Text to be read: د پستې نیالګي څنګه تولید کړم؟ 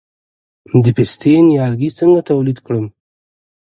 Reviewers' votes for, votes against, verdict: 2, 0, accepted